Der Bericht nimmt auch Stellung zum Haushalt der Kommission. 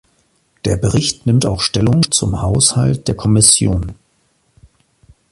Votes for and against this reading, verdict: 2, 0, accepted